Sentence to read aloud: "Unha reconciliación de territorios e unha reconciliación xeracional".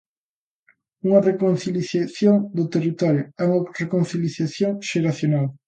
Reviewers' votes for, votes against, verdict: 0, 2, rejected